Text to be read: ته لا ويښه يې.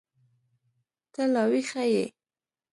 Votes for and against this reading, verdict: 2, 0, accepted